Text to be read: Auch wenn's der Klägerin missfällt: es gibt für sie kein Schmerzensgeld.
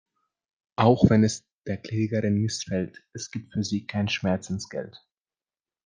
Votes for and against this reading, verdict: 0, 2, rejected